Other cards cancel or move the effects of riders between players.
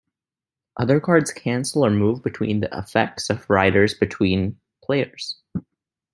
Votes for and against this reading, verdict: 1, 2, rejected